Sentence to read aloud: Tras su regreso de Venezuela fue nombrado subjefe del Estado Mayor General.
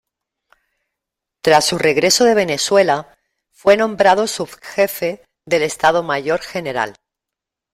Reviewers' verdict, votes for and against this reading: accepted, 2, 0